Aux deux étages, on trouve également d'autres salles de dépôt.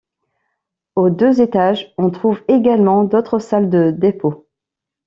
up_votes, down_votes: 2, 0